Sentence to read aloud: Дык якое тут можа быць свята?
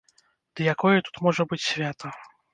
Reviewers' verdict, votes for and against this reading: rejected, 0, 2